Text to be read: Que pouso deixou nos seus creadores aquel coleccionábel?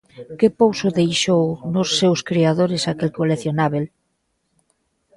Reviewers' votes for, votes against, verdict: 1, 2, rejected